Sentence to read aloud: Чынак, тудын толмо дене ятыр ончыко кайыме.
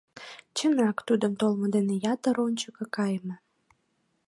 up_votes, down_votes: 2, 0